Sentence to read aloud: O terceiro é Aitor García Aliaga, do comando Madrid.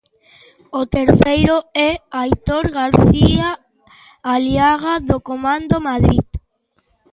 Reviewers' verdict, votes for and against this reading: accepted, 2, 0